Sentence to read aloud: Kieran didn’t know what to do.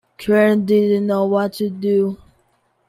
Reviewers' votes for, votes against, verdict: 2, 0, accepted